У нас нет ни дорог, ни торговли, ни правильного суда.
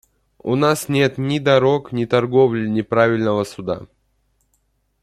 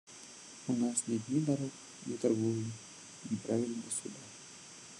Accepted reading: first